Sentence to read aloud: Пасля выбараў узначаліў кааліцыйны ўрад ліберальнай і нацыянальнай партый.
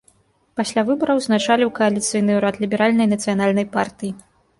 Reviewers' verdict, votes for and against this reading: accepted, 2, 0